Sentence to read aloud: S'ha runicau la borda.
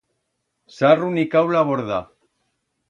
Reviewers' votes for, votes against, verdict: 2, 0, accepted